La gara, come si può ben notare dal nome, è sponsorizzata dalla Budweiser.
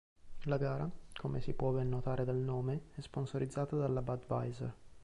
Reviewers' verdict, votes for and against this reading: accepted, 2, 0